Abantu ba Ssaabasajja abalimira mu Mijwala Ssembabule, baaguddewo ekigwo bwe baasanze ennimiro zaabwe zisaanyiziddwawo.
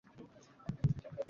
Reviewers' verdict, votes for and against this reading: rejected, 0, 2